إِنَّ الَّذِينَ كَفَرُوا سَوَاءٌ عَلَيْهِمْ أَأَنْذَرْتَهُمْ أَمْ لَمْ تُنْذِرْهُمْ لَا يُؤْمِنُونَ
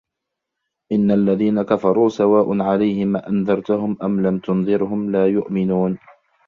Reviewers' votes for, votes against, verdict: 0, 2, rejected